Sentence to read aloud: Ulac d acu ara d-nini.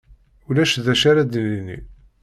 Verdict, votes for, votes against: accepted, 2, 0